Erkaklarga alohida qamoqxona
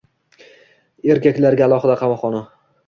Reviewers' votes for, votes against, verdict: 1, 2, rejected